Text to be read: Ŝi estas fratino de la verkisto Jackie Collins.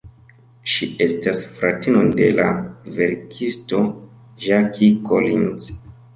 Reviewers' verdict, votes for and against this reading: rejected, 1, 2